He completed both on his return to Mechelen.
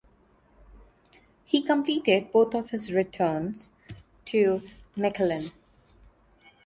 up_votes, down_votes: 0, 2